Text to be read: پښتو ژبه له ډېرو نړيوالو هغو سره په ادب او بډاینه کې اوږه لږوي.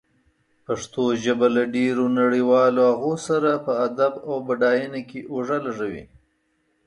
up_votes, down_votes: 2, 0